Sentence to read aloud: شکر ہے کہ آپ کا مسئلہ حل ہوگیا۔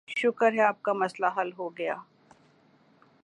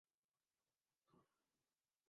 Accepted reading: first